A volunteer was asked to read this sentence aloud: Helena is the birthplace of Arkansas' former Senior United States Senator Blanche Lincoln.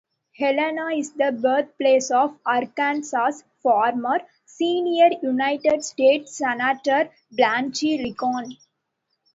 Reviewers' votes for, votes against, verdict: 2, 0, accepted